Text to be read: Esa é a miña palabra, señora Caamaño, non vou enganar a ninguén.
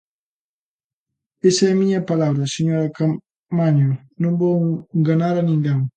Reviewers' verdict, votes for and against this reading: rejected, 1, 3